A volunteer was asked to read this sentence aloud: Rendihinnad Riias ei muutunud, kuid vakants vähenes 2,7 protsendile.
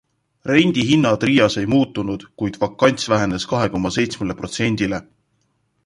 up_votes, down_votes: 0, 2